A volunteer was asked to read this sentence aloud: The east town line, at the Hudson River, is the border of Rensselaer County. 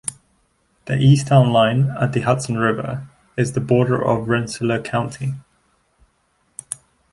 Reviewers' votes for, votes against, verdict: 2, 0, accepted